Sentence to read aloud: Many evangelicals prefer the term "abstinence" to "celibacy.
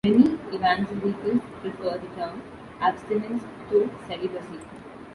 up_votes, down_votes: 0, 2